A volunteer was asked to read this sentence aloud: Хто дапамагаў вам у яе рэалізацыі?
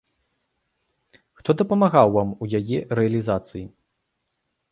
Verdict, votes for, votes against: accepted, 2, 0